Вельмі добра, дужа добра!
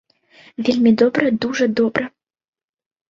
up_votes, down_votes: 2, 0